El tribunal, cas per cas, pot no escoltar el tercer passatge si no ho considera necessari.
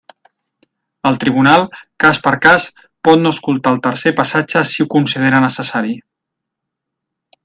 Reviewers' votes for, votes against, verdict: 1, 2, rejected